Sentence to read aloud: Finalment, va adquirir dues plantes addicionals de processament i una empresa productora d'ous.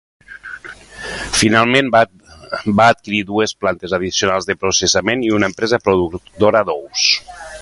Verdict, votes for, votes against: rejected, 1, 2